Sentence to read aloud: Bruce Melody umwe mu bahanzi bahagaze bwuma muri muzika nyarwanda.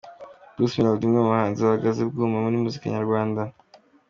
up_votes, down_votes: 2, 0